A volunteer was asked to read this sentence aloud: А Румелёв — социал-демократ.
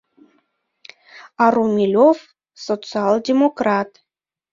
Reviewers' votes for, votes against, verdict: 2, 0, accepted